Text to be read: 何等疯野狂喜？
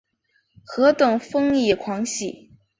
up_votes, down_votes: 1, 2